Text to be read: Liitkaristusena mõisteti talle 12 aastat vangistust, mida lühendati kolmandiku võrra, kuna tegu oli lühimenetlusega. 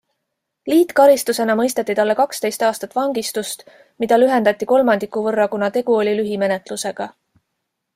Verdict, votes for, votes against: rejected, 0, 2